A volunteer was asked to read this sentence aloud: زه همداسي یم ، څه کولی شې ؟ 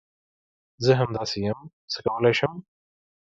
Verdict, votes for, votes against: rejected, 0, 2